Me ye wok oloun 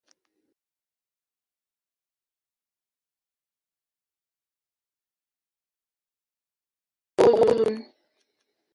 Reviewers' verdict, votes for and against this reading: rejected, 0, 2